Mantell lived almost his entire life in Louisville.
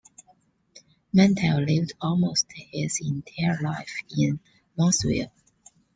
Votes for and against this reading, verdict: 0, 2, rejected